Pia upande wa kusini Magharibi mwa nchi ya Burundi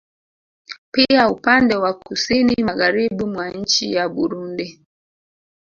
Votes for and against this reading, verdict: 2, 0, accepted